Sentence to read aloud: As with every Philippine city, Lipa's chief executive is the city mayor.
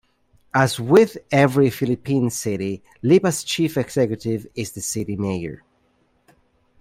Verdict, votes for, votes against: accepted, 2, 1